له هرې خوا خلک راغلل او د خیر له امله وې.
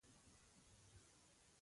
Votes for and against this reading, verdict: 1, 2, rejected